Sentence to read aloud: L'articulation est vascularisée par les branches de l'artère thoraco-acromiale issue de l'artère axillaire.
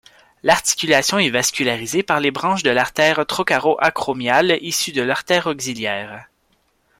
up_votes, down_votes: 1, 2